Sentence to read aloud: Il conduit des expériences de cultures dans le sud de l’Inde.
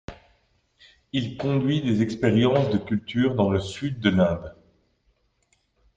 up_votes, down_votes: 2, 1